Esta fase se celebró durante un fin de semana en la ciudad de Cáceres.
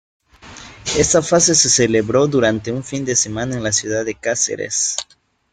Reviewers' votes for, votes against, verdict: 1, 2, rejected